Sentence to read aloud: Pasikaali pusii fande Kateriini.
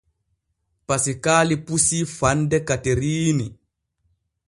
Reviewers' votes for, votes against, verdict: 2, 0, accepted